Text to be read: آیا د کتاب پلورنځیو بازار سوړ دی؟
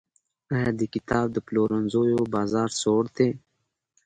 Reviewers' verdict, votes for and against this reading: accepted, 2, 0